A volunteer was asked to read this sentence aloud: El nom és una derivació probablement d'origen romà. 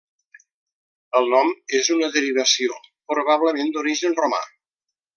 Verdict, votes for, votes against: accepted, 3, 0